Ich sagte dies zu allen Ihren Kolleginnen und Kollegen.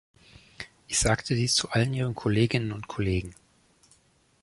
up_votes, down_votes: 2, 0